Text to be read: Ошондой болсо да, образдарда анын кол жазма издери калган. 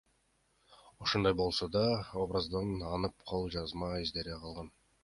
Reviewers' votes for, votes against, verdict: 1, 2, rejected